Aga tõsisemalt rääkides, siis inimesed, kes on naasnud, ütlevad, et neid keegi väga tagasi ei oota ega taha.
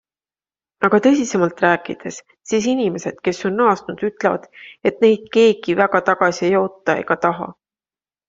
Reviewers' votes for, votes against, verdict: 2, 0, accepted